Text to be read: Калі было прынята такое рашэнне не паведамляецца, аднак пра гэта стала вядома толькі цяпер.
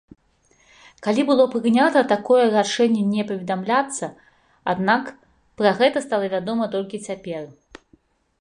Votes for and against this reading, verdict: 2, 3, rejected